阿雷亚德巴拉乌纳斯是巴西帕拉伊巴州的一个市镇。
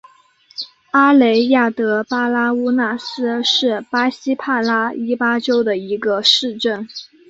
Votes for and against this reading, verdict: 2, 0, accepted